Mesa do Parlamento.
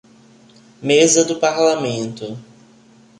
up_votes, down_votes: 2, 0